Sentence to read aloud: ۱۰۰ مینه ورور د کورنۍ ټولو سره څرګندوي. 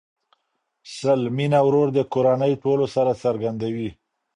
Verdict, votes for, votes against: rejected, 0, 2